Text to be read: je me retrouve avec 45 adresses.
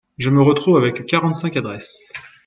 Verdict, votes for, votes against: rejected, 0, 2